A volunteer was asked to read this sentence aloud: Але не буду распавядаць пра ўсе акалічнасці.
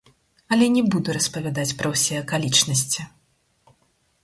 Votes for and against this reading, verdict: 2, 4, rejected